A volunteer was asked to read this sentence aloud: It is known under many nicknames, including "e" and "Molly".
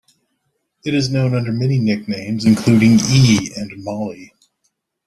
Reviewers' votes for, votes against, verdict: 2, 0, accepted